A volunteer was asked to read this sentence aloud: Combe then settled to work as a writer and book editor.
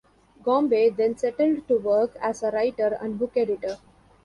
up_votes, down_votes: 1, 2